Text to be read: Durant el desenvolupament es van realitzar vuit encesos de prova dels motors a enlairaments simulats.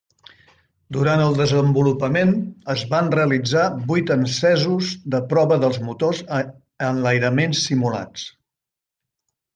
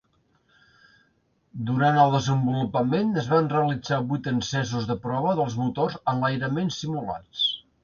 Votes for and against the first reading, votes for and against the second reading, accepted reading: 1, 2, 2, 0, second